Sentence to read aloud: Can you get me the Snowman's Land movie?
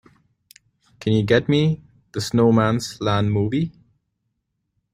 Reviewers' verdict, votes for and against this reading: accepted, 2, 0